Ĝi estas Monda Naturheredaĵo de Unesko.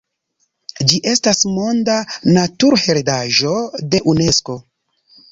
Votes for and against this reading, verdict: 2, 0, accepted